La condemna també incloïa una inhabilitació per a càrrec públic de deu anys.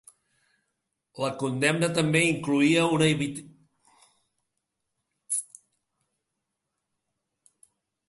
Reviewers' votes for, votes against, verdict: 0, 2, rejected